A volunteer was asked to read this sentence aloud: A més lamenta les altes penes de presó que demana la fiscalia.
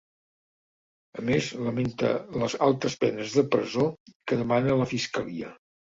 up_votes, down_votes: 2, 0